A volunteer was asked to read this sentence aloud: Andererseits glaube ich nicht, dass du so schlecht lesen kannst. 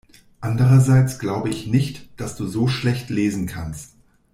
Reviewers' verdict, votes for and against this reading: accepted, 2, 0